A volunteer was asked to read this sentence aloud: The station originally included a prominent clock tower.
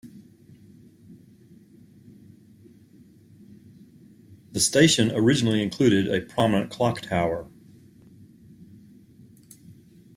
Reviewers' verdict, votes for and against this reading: accepted, 2, 0